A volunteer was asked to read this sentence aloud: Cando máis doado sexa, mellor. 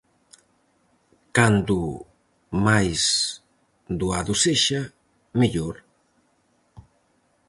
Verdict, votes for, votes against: accepted, 4, 0